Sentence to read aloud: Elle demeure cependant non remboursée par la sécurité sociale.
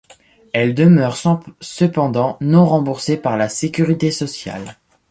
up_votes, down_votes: 0, 2